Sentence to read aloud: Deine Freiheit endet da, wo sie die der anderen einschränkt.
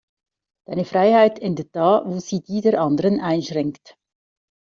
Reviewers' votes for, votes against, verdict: 1, 2, rejected